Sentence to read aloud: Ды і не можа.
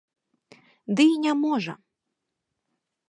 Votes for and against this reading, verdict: 2, 0, accepted